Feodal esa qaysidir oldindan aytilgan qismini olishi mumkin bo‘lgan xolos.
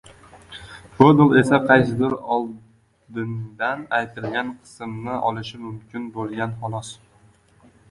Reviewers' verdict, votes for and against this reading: rejected, 0, 2